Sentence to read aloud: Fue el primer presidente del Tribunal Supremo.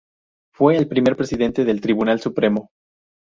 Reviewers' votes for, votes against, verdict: 2, 0, accepted